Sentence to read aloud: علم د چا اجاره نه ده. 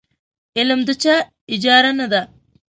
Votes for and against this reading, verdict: 2, 0, accepted